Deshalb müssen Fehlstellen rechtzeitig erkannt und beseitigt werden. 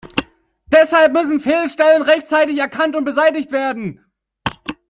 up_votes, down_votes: 0, 2